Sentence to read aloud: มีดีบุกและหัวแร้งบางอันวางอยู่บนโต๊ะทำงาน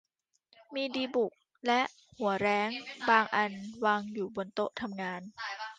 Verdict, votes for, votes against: accepted, 2, 1